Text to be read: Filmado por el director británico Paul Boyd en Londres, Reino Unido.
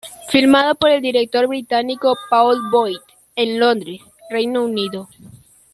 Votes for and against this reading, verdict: 2, 0, accepted